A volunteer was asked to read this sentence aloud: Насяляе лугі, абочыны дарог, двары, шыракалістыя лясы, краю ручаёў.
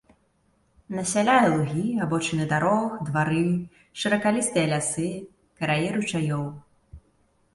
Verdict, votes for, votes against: rejected, 0, 2